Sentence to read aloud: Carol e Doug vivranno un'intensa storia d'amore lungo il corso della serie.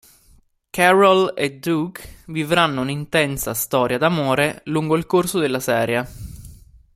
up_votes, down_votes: 2, 1